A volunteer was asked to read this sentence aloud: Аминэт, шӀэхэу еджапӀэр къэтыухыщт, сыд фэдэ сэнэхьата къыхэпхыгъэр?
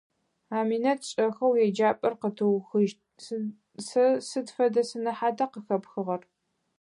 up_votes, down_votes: 0, 4